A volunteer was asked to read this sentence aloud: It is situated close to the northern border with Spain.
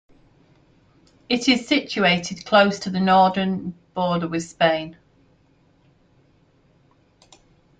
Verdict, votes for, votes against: rejected, 0, 2